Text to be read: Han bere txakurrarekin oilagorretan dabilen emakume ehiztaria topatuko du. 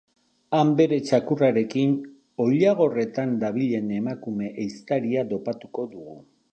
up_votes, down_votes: 0, 2